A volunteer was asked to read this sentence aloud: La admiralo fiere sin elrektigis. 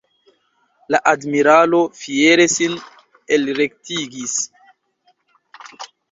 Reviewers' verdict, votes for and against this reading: rejected, 1, 2